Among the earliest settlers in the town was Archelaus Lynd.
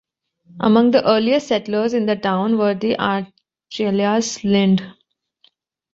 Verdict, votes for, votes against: rejected, 1, 2